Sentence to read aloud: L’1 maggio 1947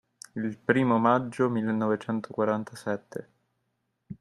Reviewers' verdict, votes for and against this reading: rejected, 0, 2